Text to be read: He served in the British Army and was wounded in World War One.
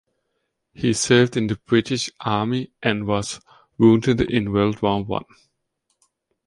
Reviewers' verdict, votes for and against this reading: accepted, 2, 0